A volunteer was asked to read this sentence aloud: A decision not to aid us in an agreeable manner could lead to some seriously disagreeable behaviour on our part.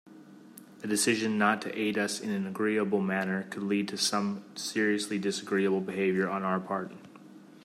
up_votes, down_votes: 2, 0